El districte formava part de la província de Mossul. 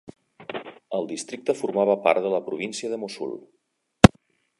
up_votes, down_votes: 1, 2